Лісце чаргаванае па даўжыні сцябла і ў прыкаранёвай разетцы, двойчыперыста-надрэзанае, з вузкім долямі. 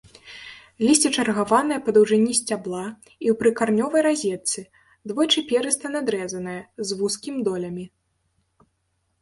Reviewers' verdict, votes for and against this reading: rejected, 0, 2